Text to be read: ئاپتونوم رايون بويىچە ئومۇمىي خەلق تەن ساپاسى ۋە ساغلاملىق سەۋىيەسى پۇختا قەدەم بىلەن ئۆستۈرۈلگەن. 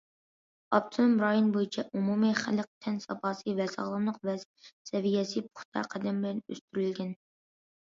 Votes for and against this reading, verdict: 0, 2, rejected